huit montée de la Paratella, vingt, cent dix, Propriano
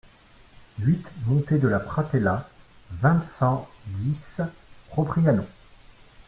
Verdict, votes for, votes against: rejected, 0, 2